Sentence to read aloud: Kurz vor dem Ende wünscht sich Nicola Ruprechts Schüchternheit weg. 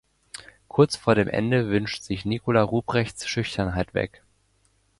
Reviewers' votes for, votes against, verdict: 2, 0, accepted